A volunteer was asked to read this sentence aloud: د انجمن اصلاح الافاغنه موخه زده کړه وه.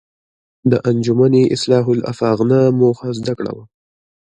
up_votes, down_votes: 2, 1